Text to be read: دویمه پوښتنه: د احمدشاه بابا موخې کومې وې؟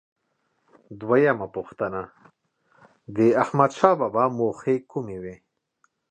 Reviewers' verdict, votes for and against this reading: accepted, 2, 0